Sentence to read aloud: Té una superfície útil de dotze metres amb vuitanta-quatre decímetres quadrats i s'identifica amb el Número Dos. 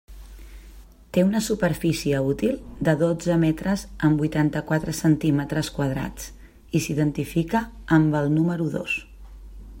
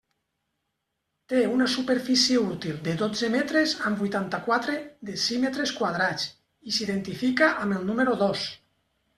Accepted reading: second